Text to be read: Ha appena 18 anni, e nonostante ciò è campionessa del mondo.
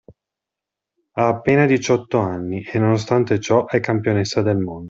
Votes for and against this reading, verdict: 0, 2, rejected